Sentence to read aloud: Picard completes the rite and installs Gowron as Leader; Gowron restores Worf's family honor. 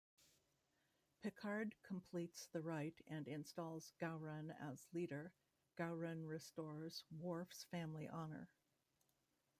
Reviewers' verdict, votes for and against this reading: accepted, 2, 1